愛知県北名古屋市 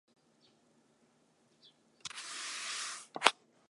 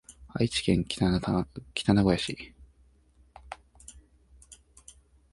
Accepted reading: second